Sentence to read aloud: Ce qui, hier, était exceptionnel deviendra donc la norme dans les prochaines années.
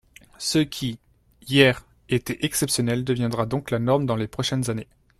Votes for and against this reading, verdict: 2, 1, accepted